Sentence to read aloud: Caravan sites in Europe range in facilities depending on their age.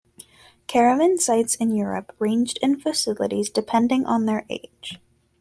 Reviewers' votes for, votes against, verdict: 0, 2, rejected